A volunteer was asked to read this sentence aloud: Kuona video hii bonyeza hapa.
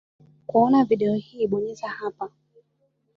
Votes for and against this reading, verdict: 3, 1, accepted